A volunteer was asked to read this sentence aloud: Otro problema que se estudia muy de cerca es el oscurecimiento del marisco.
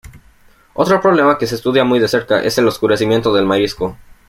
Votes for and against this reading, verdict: 2, 0, accepted